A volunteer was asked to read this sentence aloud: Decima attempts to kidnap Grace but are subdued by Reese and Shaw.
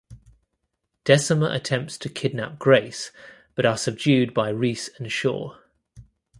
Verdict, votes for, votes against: accepted, 2, 0